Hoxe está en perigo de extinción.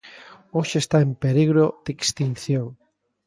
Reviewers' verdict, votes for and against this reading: rejected, 0, 2